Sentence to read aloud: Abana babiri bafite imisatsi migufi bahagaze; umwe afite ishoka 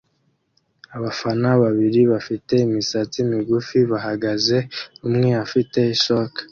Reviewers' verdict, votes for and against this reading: accepted, 2, 0